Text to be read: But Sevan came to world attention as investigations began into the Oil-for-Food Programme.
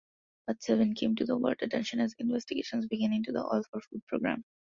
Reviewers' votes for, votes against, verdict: 0, 2, rejected